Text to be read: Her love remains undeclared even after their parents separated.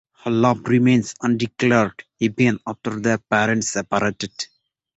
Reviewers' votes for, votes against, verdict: 0, 2, rejected